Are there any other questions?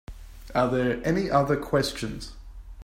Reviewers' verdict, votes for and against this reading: accepted, 2, 0